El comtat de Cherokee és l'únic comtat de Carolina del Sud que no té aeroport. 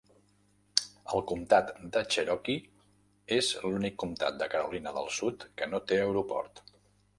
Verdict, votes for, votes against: accepted, 3, 0